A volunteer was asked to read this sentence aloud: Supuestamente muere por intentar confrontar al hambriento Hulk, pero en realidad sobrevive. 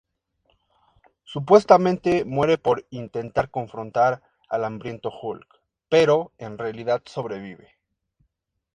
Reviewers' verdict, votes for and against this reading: accepted, 2, 0